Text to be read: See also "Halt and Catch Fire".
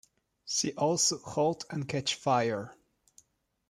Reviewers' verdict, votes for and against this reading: accepted, 2, 0